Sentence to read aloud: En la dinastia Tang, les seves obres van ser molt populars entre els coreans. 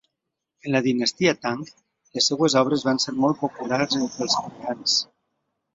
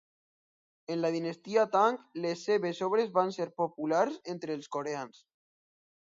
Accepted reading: first